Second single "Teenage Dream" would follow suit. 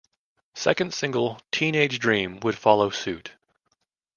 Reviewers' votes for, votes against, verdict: 2, 0, accepted